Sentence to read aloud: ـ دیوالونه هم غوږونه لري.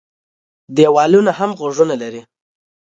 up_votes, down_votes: 2, 0